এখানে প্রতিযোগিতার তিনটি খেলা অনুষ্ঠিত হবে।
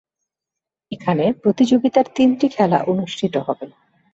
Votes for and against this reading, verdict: 2, 0, accepted